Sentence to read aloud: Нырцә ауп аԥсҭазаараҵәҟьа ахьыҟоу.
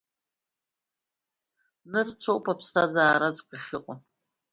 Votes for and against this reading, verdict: 1, 2, rejected